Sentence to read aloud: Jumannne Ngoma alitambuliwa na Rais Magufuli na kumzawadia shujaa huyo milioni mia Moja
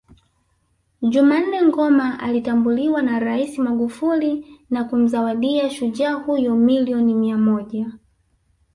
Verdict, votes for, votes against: rejected, 1, 2